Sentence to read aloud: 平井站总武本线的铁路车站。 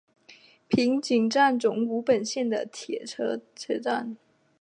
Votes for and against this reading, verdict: 1, 2, rejected